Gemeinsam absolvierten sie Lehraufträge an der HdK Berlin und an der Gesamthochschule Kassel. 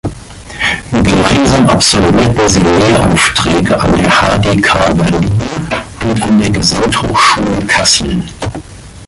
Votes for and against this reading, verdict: 1, 2, rejected